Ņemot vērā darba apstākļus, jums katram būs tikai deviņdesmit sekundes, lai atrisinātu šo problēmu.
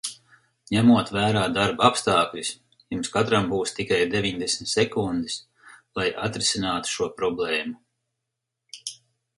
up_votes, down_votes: 4, 0